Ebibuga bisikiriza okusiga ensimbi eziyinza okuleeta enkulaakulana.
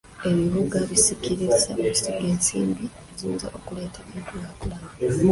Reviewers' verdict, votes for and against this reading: rejected, 1, 2